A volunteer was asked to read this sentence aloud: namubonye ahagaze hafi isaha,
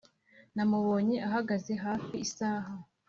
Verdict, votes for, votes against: accepted, 2, 0